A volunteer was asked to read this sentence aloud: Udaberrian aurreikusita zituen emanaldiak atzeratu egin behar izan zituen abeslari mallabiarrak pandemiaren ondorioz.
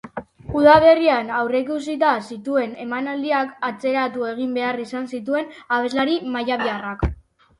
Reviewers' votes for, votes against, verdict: 3, 1, accepted